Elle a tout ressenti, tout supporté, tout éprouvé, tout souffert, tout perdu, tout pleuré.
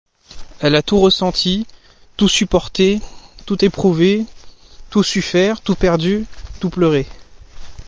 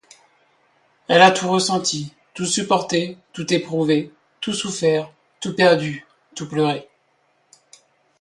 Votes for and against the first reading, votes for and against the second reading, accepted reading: 0, 2, 2, 0, second